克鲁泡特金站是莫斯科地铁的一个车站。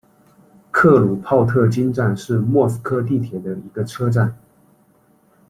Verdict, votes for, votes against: accepted, 2, 0